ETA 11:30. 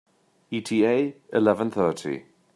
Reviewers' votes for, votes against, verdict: 0, 2, rejected